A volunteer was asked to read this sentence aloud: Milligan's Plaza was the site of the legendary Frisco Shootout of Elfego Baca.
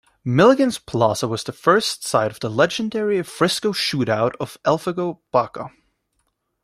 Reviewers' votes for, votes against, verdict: 2, 3, rejected